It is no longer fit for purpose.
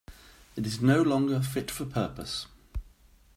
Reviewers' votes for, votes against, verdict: 2, 0, accepted